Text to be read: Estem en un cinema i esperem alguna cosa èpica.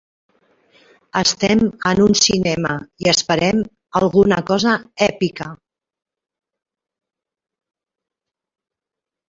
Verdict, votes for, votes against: rejected, 1, 2